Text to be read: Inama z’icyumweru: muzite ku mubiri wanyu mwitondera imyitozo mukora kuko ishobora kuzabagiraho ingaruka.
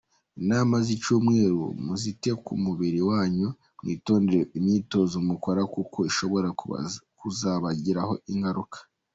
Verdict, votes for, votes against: rejected, 0, 2